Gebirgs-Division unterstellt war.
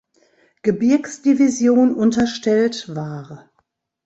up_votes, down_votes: 0, 2